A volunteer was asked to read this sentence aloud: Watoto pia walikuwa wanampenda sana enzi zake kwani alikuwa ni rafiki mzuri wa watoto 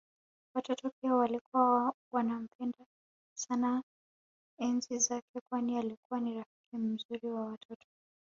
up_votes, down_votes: 2, 0